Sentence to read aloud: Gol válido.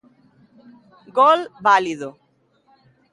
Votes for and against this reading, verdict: 2, 1, accepted